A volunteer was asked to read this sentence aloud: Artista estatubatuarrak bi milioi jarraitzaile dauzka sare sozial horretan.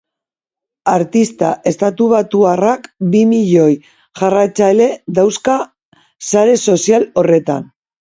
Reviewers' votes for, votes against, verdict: 2, 0, accepted